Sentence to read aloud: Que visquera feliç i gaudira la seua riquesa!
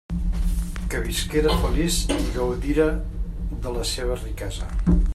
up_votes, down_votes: 2, 0